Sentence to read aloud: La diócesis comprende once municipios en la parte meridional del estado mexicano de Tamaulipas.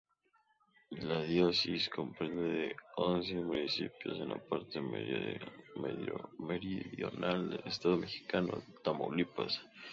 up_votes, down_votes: 0, 2